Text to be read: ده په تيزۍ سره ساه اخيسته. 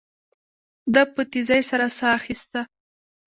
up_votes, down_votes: 2, 0